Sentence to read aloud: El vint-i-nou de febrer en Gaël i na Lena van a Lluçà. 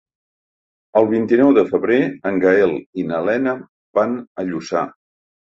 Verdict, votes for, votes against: accepted, 3, 0